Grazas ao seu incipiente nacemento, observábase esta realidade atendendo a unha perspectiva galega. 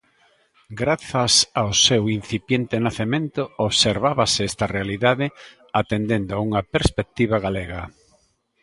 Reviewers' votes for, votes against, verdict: 2, 0, accepted